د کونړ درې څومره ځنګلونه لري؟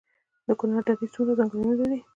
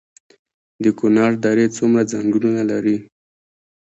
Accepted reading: second